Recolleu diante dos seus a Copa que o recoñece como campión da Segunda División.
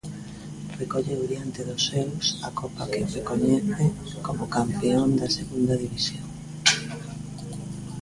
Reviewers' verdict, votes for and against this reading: rejected, 0, 2